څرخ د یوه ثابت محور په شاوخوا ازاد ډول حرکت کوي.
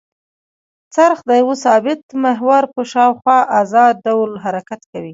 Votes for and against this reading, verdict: 2, 0, accepted